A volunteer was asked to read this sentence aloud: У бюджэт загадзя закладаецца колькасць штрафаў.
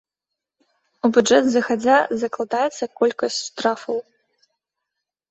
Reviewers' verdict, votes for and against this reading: accepted, 2, 0